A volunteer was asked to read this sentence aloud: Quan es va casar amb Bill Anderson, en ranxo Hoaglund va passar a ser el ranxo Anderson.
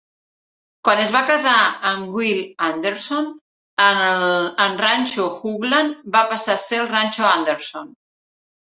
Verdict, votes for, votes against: rejected, 0, 2